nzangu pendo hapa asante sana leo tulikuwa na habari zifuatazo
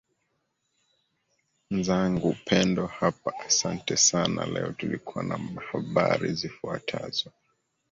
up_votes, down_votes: 0, 2